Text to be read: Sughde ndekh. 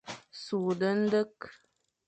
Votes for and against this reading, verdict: 2, 0, accepted